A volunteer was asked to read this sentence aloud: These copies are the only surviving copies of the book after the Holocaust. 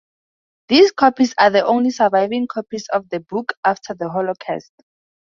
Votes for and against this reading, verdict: 2, 0, accepted